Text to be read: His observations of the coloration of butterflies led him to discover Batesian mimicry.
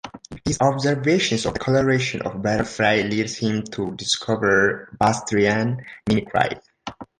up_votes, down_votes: 0, 2